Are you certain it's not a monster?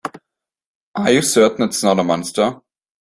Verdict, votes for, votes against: accepted, 2, 0